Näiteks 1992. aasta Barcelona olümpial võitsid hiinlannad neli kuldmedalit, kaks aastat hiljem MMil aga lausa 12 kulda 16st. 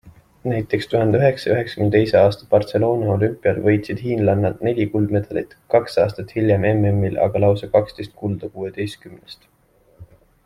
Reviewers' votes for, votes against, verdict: 0, 2, rejected